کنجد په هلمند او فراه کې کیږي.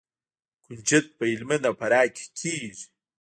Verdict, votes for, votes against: rejected, 1, 2